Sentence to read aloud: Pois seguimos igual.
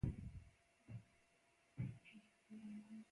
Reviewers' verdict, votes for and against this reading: rejected, 0, 2